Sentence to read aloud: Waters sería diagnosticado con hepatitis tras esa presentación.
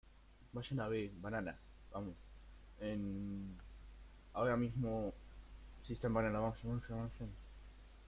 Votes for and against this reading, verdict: 0, 2, rejected